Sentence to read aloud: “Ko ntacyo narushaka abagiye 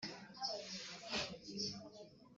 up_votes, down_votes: 0, 2